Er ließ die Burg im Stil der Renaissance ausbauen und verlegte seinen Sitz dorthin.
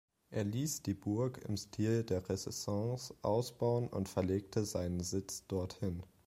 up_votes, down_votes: 1, 2